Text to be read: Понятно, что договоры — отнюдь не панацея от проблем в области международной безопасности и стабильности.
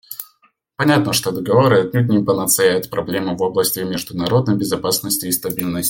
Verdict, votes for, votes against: rejected, 1, 2